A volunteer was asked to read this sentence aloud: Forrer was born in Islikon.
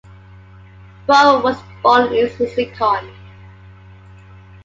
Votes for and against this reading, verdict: 2, 1, accepted